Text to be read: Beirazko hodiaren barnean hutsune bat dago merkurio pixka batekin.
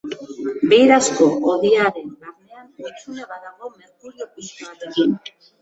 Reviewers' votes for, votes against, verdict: 0, 2, rejected